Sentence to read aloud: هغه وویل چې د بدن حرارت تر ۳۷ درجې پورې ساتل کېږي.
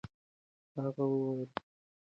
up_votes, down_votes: 0, 2